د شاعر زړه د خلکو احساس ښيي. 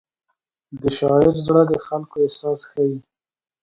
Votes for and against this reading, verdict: 2, 0, accepted